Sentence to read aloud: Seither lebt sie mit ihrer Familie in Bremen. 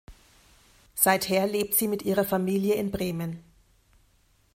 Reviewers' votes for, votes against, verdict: 2, 0, accepted